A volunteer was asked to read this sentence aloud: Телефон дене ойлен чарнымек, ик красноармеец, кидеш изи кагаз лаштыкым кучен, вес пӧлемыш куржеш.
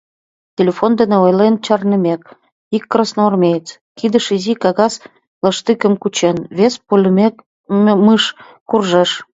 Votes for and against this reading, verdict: 0, 2, rejected